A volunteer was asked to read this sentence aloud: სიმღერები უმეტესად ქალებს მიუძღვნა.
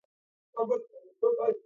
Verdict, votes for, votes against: rejected, 1, 2